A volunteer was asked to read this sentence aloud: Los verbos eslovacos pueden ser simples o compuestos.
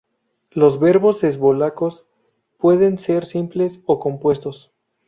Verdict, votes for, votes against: rejected, 2, 2